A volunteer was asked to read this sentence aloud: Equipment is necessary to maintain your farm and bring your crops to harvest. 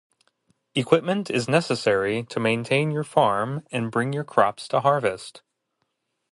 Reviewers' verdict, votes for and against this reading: accepted, 2, 0